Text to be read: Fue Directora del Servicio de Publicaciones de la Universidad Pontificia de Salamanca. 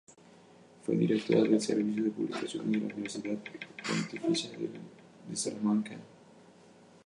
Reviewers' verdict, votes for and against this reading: rejected, 0, 2